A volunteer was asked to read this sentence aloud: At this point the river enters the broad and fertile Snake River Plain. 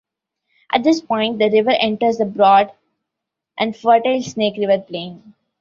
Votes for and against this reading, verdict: 2, 0, accepted